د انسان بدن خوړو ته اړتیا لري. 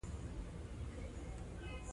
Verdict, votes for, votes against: rejected, 1, 2